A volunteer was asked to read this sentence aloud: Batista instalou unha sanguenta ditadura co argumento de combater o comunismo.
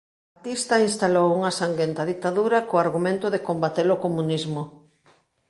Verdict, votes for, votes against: rejected, 1, 2